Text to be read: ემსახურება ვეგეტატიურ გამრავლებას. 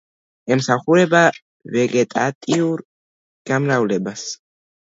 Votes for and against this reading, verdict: 2, 1, accepted